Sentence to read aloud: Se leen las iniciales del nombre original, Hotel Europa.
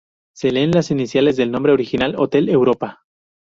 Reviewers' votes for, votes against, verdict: 6, 0, accepted